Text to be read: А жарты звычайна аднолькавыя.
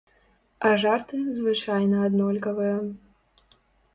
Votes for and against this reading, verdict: 2, 0, accepted